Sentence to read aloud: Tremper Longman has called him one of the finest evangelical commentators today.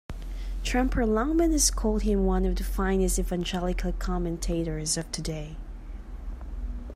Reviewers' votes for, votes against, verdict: 1, 2, rejected